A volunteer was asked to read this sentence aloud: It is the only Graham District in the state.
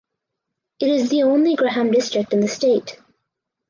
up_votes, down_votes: 4, 0